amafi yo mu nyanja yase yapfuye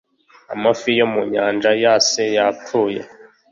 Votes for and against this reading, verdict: 2, 0, accepted